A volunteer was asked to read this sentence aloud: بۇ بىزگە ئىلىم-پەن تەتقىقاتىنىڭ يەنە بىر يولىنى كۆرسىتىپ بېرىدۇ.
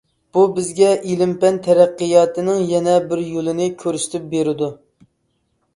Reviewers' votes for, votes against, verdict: 0, 2, rejected